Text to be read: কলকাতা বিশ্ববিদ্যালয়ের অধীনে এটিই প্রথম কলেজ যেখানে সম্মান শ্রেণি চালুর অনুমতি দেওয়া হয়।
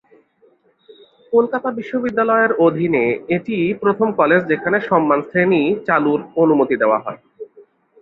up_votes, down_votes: 2, 0